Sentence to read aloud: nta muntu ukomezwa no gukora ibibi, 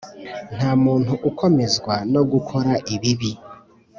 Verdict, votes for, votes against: accepted, 3, 0